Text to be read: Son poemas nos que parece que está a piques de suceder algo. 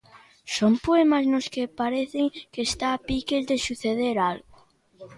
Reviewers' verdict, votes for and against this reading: rejected, 0, 2